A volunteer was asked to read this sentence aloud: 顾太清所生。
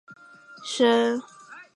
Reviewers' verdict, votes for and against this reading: rejected, 1, 2